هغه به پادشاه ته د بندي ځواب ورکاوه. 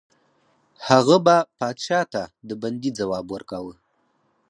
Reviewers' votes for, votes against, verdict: 4, 2, accepted